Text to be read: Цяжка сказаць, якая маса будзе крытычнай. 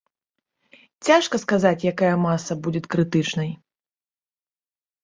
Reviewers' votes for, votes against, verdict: 0, 2, rejected